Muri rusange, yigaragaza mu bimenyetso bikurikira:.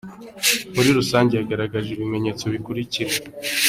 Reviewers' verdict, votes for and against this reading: rejected, 0, 2